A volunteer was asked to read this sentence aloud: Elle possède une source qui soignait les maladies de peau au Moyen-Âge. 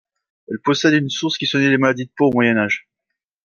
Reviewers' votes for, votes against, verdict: 2, 0, accepted